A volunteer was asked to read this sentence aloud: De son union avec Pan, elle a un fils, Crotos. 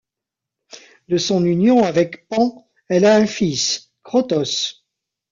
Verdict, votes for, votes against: accepted, 2, 0